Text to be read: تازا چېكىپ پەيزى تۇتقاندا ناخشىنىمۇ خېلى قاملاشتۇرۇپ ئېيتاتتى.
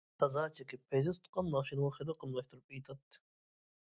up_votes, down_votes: 0, 2